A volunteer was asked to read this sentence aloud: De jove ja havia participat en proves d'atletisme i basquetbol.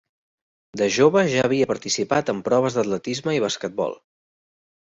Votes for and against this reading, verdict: 3, 0, accepted